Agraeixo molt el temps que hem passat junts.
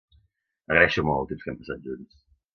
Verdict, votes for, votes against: rejected, 1, 2